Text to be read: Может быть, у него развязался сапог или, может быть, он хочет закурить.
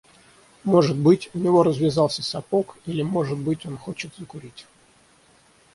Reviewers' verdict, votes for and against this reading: accepted, 6, 0